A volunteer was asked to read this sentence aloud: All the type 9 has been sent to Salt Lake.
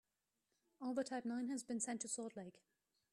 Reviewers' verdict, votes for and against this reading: rejected, 0, 2